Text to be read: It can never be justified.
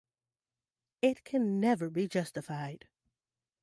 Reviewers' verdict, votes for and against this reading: accepted, 2, 0